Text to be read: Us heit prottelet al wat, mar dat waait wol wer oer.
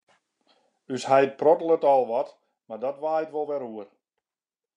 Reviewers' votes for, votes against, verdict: 2, 0, accepted